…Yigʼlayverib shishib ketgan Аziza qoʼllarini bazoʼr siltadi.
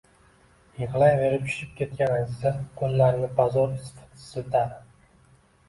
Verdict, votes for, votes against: accepted, 2, 0